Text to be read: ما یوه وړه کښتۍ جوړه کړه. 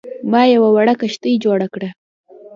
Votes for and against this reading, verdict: 2, 0, accepted